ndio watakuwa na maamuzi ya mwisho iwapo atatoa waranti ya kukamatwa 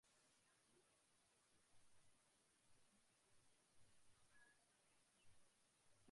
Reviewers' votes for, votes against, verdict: 0, 2, rejected